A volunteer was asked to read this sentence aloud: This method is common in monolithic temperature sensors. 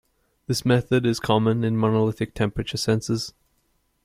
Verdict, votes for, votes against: accepted, 2, 0